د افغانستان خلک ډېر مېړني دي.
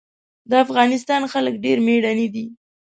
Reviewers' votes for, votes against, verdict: 2, 0, accepted